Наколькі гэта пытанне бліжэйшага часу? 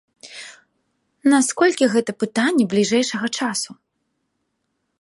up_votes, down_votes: 1, 2